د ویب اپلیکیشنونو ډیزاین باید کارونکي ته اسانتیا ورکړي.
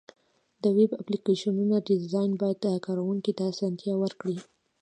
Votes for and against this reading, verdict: 1, 2, rejected